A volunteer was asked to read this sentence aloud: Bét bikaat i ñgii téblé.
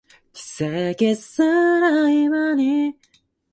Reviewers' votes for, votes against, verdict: 0, 2, rejected